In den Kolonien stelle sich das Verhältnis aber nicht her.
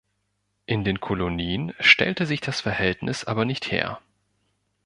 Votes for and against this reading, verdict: 1, 3, rejected